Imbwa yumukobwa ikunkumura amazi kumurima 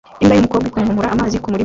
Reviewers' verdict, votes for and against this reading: rejected, 0, 2